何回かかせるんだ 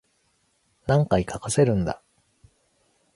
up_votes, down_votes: 2, 0